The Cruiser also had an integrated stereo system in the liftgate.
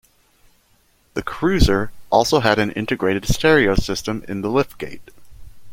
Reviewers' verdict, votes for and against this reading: accepted, 2, 0